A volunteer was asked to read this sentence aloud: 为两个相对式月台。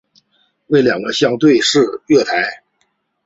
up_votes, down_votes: 2, 0